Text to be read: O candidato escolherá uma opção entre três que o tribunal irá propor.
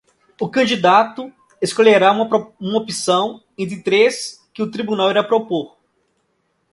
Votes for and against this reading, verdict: 0, 2, rejected